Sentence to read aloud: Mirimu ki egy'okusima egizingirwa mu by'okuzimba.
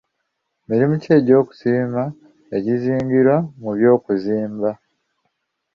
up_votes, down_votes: 2, 0